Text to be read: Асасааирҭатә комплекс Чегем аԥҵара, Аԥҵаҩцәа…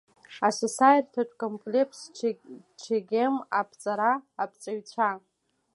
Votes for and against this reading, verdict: 0, 2, rejected